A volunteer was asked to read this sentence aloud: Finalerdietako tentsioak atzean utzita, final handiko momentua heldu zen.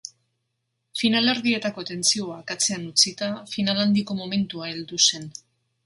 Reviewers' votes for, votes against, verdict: 2, 0, accepted